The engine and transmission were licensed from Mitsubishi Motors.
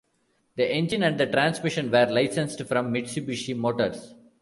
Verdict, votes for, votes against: rejected, 0, 2